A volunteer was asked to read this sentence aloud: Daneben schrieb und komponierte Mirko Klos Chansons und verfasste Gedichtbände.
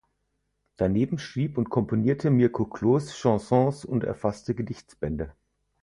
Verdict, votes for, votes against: rejected, 0, 4